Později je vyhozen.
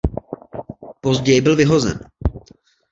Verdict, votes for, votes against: rejected, 0, 2